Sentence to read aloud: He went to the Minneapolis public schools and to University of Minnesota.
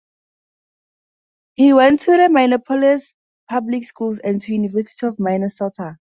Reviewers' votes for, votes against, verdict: 2, 2, rejected